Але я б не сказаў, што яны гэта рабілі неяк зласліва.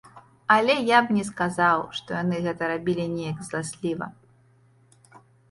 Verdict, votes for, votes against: accepted, 2, 0